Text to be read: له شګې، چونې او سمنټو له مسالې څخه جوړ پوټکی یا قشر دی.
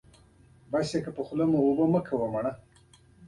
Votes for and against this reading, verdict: 2, 1, accepted